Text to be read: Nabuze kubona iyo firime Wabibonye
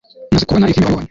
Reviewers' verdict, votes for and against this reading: rejected, 1, 2